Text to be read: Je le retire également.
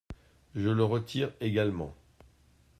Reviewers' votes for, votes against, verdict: 2, 0, accepted